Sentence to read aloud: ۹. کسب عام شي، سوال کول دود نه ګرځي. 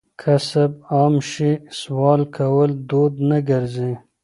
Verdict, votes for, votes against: rejected, 0, 2